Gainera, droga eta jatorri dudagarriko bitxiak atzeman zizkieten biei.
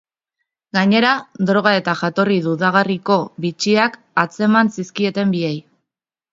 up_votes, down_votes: 3, 0